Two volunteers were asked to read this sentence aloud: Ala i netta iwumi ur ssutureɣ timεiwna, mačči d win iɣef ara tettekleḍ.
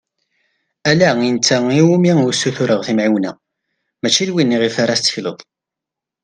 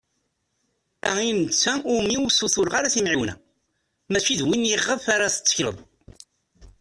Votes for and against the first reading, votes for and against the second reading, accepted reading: 2, 0, 0, 2, first